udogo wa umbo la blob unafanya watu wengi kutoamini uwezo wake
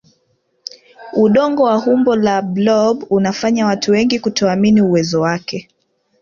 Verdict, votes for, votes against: rejected, 0, 2